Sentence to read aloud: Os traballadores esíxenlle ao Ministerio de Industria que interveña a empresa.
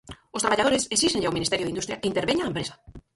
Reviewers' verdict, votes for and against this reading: rejected, 0, 4